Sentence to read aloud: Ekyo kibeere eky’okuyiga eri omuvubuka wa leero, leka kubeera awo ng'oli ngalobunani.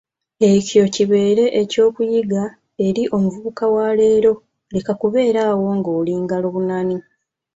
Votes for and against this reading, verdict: 2, 0, accepted